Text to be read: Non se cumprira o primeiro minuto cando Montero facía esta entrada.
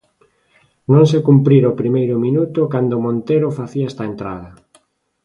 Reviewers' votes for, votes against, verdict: 2, 0, accepted